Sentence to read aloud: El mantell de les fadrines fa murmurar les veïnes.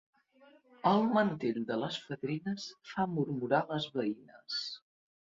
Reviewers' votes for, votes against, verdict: 2, 0, accepted